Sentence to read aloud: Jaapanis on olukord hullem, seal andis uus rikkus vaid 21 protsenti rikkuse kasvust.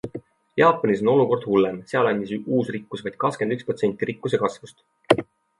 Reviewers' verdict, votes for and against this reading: rejected, 0, 2